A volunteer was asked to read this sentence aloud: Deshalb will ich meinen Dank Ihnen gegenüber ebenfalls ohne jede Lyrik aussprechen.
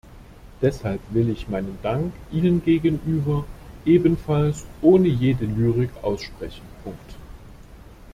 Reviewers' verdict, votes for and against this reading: rejected, 0, 2